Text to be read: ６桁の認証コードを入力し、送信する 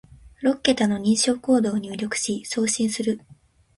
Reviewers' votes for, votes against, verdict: 0, 2, rejected